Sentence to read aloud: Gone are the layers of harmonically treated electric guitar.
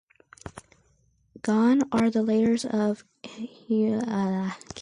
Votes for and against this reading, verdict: 0, 2, rejected